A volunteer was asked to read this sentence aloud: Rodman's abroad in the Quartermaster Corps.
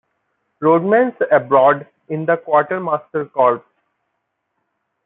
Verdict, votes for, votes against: accepted, 2, 1